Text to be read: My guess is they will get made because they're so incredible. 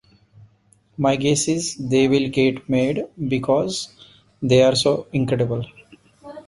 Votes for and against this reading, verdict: 2, 1, accepted